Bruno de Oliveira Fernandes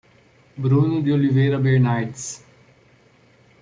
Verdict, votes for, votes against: rejected, 0, 2